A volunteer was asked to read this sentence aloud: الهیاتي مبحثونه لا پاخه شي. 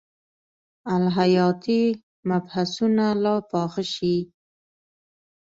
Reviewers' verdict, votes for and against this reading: accepted, 3, 0